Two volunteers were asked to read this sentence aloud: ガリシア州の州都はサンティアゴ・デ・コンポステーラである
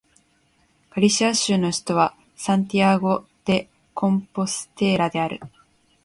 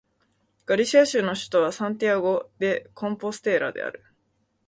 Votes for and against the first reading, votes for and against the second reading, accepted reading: 2, 0, 0, 2, first